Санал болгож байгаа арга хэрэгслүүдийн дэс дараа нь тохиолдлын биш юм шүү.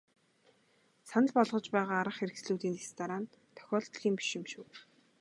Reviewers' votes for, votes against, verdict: 2, 0, accepted